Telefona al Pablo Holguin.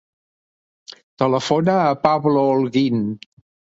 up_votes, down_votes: 1, 2